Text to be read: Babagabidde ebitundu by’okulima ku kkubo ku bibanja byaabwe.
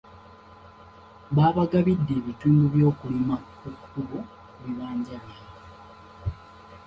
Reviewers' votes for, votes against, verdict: 2, 1, accepted